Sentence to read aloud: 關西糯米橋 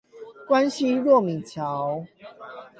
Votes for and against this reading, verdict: 8, 4, accepted